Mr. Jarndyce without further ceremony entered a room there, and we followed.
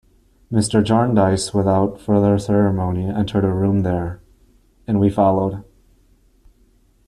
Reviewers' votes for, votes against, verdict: 3, 0, accepted